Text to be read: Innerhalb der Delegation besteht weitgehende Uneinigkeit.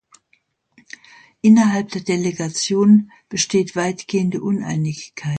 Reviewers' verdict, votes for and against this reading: rejected, 0, 2